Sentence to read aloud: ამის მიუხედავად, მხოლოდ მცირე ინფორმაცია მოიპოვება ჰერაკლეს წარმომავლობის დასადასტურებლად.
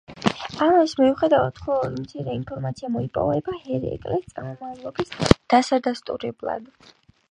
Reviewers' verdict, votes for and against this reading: accepted, 3, 0